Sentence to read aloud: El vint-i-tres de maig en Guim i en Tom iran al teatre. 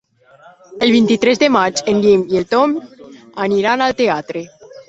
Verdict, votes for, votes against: rejected, 0, 2